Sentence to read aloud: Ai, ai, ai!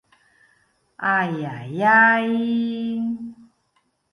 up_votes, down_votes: 3, 0